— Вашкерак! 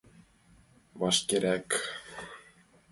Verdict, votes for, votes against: accepted, 2, 0